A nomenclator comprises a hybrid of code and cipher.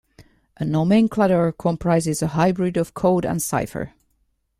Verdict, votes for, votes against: accepted, 2, 1